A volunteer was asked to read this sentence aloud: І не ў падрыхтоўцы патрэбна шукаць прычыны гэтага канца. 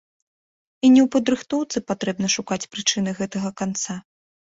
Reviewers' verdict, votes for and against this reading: accepted, 2, 0